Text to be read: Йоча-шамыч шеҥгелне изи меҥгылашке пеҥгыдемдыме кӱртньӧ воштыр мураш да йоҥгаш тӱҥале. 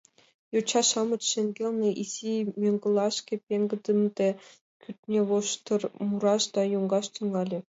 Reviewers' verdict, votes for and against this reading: rejected, 2, 3